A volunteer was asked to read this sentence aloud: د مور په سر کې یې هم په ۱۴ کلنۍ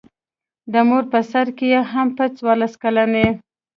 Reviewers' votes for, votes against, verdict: 0, 2, rejected